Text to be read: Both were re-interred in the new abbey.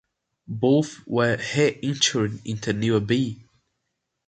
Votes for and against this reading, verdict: 0, 2, rejected